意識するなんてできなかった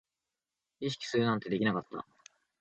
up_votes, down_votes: 2, 0